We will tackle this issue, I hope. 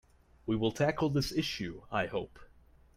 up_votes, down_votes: 2, 0